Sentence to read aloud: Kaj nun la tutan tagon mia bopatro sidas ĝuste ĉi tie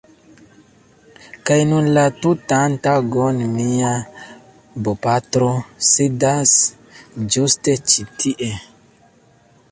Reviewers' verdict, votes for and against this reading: rejected, 0, 2